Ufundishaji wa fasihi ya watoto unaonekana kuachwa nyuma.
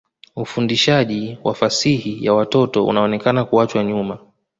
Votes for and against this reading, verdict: 2, 0, accepted